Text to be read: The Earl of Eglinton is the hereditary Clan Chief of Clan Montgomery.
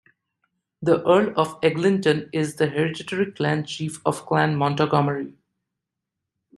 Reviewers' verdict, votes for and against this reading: rejected, 0, 2